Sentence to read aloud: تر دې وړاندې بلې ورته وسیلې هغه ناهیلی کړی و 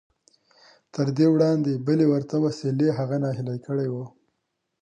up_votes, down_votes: 2, 0